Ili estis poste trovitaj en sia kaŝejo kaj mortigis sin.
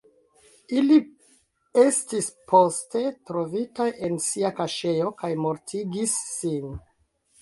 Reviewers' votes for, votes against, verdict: 1, 2, rejected